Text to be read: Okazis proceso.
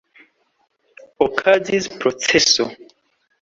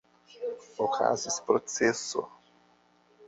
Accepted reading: first